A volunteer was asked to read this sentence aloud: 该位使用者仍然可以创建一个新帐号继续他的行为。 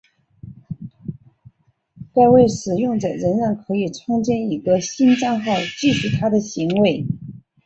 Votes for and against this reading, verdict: 2, 1, accepted